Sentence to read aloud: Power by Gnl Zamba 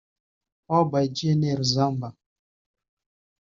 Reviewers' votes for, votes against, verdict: 1, 2, rejected